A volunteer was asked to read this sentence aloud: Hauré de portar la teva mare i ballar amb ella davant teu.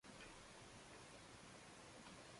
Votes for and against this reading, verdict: 0, 2, rejected